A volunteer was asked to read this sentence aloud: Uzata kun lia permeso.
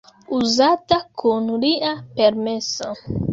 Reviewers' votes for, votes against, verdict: 2, 0, accepted